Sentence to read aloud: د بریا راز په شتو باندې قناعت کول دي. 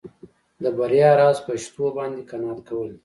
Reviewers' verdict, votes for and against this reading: accepted, 2, 0